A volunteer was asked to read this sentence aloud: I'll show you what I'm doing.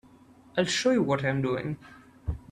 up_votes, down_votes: 3, 0